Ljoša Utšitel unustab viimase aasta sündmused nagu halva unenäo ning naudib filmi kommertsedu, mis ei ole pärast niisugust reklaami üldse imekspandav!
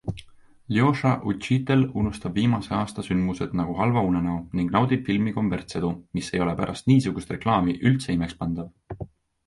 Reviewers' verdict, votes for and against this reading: accepted, 2, 0